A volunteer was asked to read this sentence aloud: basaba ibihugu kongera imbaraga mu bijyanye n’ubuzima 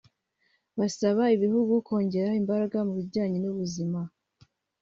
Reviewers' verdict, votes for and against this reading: accepted, 3, 0